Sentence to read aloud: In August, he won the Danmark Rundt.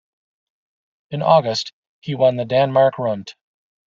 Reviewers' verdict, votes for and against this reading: accepted, 2, 0